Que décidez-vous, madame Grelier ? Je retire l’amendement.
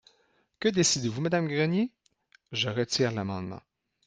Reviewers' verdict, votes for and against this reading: accepted, 3, 2